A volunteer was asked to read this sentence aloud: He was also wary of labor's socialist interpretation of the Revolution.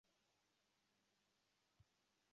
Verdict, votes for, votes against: rejected, 0, 2